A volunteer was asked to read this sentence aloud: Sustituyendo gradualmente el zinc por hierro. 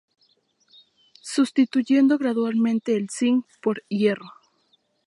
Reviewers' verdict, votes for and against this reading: accepted, 2, 0